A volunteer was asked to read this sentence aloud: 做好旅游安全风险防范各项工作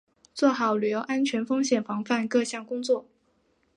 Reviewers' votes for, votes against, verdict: 2, 1, accepted